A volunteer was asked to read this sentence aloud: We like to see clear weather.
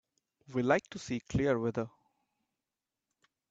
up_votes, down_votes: 1, 2